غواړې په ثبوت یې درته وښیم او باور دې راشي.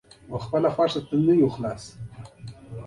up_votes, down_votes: 2, 1